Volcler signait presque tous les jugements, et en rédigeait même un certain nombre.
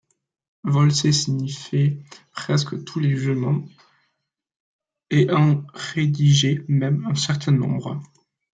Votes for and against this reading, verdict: 1, 2, rejected